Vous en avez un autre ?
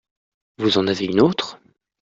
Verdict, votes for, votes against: rejected, 0, 2